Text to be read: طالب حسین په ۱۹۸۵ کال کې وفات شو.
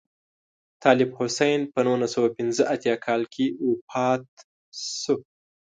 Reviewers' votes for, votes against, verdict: 0, 2, rejected